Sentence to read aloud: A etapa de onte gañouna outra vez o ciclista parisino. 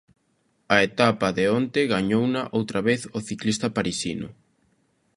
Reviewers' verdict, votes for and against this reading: accepted, 2, 0